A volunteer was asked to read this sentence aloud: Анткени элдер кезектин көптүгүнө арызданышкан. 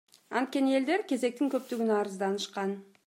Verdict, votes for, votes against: accepted, 2, 0